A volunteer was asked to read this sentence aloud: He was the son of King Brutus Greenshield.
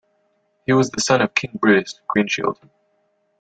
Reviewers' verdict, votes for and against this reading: rejected, 1, 2